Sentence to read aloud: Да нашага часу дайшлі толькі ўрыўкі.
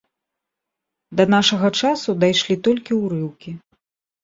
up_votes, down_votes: 2, 0